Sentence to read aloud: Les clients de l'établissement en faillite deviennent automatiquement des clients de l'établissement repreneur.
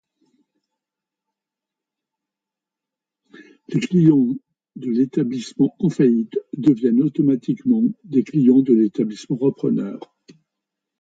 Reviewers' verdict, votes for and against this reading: accepted, 2, 0